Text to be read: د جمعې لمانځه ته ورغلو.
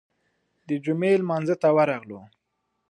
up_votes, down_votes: 2, 0